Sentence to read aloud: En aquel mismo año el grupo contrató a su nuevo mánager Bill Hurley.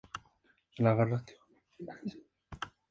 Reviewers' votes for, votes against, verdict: 0, 2, rejected